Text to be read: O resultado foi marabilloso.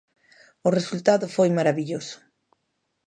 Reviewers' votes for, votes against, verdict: 2, 0, accepted